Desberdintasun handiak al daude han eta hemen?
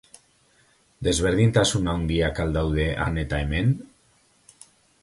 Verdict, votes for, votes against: rejected, 0, 2